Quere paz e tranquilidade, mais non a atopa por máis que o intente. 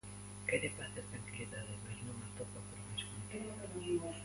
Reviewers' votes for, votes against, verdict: 1, 2, rejected